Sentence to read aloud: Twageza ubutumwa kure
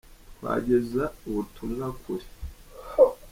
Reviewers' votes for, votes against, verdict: 0, 2, rejected